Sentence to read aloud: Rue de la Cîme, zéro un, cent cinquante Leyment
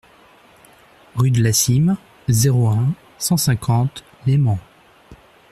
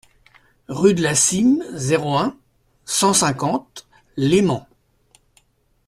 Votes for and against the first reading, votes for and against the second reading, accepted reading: 0, 2, 2, 0, second